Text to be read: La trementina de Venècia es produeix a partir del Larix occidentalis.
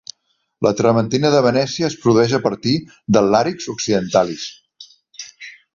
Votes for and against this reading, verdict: 3, 1, accepted